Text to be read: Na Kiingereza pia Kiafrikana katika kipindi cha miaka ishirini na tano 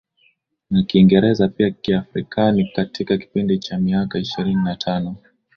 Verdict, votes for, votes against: accepted, 2, 0